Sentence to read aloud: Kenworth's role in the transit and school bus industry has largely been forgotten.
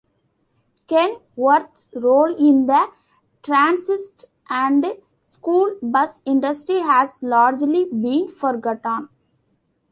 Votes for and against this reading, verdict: 1, 2, rejected